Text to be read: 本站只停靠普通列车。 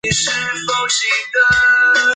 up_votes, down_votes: 1, 2